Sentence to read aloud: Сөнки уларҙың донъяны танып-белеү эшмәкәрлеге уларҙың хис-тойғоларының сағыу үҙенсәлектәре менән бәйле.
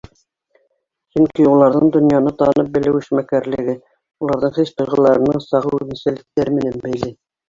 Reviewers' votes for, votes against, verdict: 1, 2, rejected